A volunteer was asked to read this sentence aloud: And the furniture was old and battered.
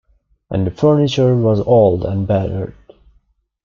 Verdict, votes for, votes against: accepted, 2, 1